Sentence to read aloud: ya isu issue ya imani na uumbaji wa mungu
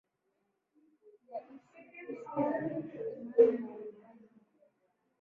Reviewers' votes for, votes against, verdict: 0, 2, rejected